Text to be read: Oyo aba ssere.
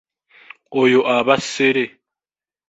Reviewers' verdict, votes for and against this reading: accepted, 2, 0